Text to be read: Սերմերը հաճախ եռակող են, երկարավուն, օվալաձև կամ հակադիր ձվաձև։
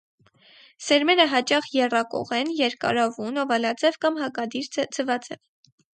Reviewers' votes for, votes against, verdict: 0, 4, rejected